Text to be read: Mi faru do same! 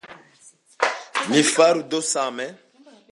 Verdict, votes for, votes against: accepted, 2, 0